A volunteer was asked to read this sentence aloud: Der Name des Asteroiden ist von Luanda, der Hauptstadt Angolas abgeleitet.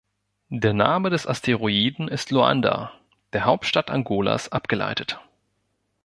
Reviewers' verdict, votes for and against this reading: rejected, 0, 2